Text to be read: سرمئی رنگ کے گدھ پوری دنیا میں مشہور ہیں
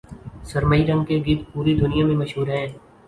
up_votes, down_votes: 2, 0